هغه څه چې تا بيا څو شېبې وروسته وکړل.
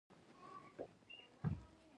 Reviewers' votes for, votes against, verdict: 0, 2, rejected